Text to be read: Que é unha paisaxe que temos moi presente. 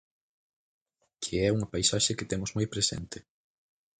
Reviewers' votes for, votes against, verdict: 2, 4, rejected